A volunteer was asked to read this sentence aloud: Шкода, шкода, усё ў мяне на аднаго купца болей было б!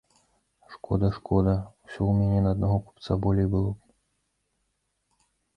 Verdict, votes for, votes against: accepted, 2, 0